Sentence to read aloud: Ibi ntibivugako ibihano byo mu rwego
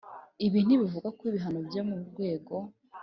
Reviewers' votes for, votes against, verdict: 5, 0, accepted